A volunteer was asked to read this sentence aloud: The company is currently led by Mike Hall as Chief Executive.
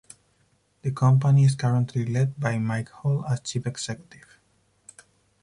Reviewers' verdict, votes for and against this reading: accepted, 4, 0